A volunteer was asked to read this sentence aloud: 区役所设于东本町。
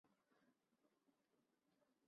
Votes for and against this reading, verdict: 1, 2, rejected